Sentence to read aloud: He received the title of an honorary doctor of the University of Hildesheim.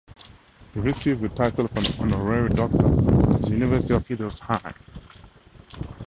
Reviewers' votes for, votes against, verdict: 2, 0, accepted